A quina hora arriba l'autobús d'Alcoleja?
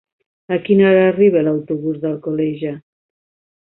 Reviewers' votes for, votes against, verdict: 2, 1, accepted